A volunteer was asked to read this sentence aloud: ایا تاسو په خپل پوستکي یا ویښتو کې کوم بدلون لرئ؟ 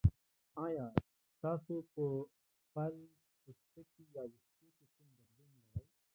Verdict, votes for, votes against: rejected, 0, 2